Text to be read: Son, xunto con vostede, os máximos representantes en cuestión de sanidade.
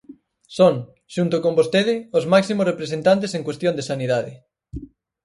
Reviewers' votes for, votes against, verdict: 4, 0, accepted